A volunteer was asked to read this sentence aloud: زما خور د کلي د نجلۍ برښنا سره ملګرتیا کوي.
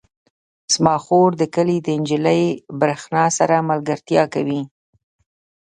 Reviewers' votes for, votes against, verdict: 2, 0, accepted